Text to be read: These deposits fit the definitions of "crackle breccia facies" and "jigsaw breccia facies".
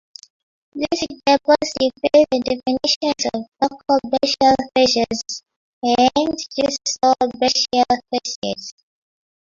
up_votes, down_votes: 1, 2